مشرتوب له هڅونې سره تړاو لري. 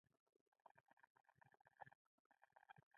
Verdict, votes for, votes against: accepted, 2, 0